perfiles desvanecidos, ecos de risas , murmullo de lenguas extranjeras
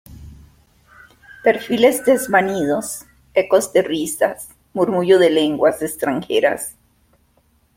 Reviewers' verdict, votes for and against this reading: rejected, 0, 2